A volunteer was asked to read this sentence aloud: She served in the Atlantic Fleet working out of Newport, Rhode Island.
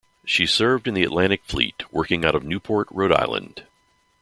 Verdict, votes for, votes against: accepted, 2, 0